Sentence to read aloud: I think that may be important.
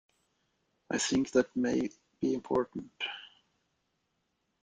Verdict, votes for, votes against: accepted, 2, 1